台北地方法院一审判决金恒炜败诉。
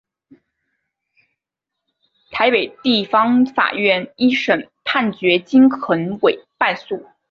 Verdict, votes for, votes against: accepted, 5, 0